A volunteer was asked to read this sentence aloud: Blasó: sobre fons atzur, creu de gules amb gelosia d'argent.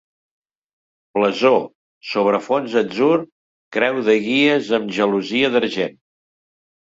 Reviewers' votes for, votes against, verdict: 0, 2, rejected